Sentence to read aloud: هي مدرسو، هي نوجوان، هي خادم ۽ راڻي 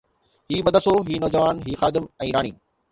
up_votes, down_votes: 2, 0